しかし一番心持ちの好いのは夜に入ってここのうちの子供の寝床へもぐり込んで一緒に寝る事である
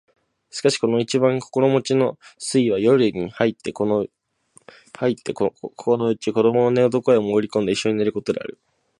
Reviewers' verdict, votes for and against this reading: rejected, 0, 2